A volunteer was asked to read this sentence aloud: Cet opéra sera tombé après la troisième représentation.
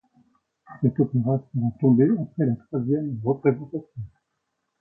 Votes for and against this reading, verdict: 2, 0, accepted